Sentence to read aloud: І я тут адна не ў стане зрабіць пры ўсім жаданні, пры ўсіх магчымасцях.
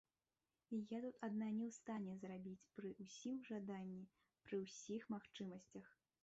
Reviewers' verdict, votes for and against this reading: rejected, 1, 2